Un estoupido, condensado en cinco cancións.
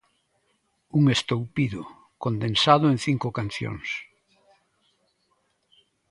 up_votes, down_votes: 2, 0